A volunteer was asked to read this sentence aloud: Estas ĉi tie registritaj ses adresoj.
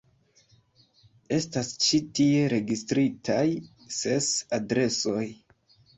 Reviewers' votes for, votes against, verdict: 2, 1, accepted